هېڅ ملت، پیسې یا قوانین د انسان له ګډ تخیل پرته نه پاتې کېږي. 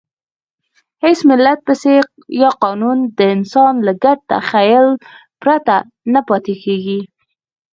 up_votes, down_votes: 2, 4